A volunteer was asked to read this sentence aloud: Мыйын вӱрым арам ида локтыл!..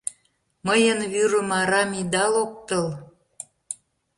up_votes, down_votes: 2, 0